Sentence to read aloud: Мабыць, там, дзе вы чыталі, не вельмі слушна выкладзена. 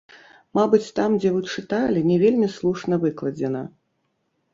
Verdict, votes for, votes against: rejected, 1, 3